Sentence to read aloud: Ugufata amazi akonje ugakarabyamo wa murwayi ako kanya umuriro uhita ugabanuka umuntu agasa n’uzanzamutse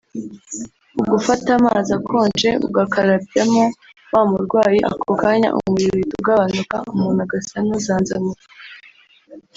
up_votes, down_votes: 1, 2